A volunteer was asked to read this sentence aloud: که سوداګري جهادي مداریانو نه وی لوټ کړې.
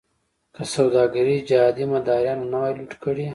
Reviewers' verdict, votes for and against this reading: accepted, 2, 0